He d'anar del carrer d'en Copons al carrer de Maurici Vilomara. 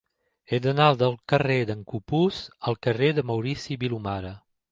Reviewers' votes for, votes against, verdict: 1, 2, rejected